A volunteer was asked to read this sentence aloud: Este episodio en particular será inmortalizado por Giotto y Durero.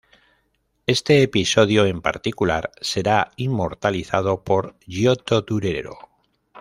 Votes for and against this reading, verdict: 2, 0, accepted